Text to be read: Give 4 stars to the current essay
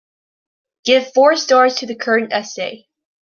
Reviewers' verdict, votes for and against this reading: rejected, 0, 2